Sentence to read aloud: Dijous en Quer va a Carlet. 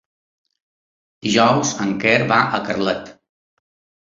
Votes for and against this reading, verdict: 3, 1, accepted